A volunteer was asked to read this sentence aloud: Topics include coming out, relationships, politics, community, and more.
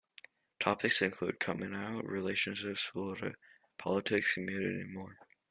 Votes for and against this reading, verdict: 1, 2, rejected